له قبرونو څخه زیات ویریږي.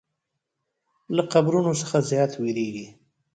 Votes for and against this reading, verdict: 2, 1, accepted